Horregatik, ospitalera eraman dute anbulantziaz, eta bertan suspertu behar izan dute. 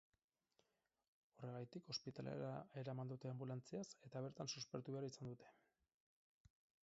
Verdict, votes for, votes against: rejected, 0, 4